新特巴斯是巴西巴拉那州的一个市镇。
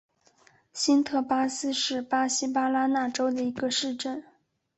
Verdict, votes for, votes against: accepted, 2, 0